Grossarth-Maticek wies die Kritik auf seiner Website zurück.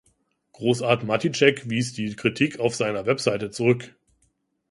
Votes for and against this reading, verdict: 2, 0, accepted